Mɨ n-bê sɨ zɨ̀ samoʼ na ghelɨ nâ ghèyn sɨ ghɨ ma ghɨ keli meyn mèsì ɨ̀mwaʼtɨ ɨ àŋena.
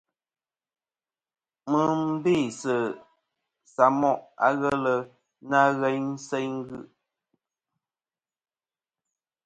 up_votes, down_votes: 1, 2